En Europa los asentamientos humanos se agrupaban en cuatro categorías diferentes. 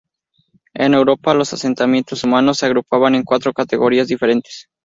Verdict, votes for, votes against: accepted, 4, 0